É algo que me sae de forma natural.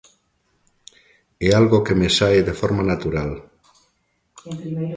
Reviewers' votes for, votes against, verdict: 1, 2, rejected